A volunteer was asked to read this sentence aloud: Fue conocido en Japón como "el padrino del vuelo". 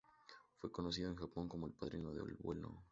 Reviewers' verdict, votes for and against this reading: rejected, 0, 4